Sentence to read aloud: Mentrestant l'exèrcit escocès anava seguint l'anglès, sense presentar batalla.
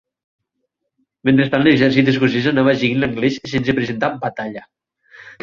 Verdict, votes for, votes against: rejected, 2, 4